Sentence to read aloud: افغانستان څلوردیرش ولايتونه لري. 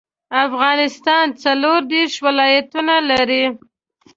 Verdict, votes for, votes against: accepted, 2, 0